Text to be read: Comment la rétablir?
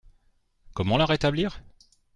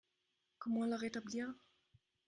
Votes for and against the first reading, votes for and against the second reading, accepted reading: 2, 0, 2, 3, first